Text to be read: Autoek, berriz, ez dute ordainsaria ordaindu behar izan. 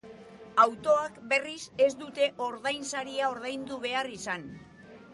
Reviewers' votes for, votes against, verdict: 0, 2, rejected